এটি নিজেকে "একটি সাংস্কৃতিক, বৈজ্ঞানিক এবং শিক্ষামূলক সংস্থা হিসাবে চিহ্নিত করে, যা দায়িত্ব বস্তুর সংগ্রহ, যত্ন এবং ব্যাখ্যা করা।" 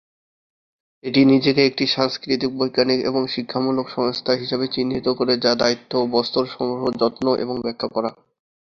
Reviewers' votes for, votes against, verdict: 0, 2, rejected